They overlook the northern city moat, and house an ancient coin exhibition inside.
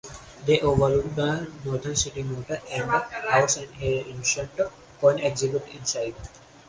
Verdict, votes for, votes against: rejected, 4, 4